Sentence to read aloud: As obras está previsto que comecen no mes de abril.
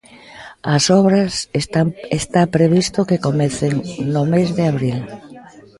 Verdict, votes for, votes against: rejected, 0, 2